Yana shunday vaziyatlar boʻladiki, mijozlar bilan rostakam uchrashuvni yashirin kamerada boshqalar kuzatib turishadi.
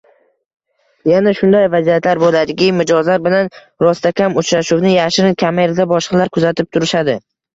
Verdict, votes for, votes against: accepted, 2, 0